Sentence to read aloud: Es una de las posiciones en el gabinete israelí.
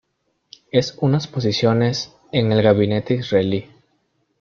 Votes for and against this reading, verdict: 0, 2, rejected